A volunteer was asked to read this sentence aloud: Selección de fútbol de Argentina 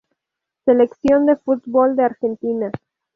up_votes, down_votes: 2, 0